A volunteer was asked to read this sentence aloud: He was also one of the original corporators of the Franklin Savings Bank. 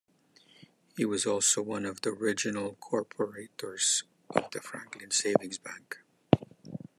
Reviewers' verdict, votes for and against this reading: accepted, 2, 0